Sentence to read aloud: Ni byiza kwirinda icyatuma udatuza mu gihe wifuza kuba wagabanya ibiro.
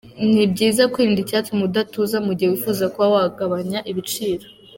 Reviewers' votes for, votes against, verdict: 2, 1, accepted